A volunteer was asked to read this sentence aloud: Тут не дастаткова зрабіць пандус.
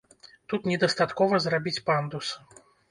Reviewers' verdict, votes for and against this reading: accepted, 2, 0